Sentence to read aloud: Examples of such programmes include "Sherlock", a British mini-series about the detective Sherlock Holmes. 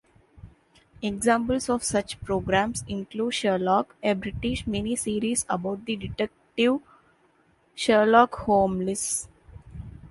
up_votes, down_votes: 0, 2